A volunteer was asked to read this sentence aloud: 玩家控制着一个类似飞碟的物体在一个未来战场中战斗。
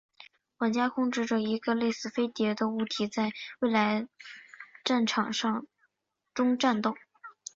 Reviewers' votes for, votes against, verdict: 1, 2, rejected